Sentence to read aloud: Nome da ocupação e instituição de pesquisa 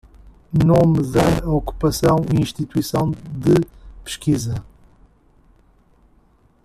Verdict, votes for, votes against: accepted, 2, 1